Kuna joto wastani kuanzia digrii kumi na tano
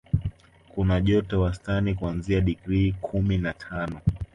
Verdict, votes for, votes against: accepted, 2, 0